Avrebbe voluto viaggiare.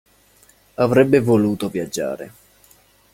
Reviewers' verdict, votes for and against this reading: accepted, 2, 0